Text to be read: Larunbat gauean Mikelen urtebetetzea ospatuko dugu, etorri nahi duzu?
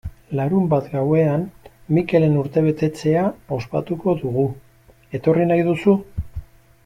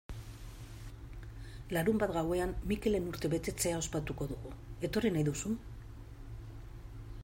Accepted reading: second